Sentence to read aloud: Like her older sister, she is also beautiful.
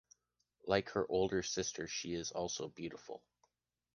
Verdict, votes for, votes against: accepted, 2, 0